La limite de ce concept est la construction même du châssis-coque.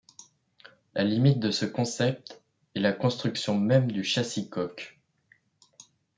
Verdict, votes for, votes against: accepted, 2, 0